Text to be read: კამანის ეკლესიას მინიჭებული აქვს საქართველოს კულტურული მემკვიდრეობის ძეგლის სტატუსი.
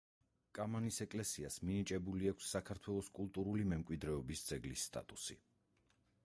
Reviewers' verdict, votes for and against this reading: rejected, 2, 4